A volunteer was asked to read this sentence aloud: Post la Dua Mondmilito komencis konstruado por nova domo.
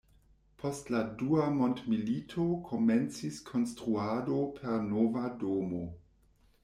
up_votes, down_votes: 0, 2